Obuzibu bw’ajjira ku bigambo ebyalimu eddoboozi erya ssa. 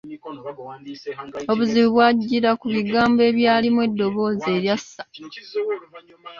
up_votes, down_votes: 2, 0